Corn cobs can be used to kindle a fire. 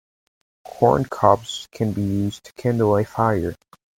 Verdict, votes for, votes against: accepted, 2, 0